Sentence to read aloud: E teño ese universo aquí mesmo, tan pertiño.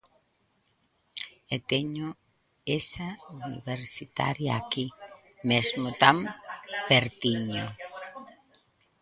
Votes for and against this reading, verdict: 0, 2, rejected